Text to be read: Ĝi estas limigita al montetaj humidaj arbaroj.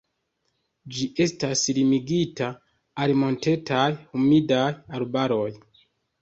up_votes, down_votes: 2, 0